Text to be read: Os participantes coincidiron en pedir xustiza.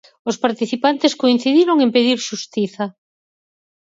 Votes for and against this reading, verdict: 4, 0, accepted